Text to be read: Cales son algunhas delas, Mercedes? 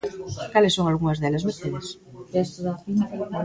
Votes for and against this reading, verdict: 1, 2, rejected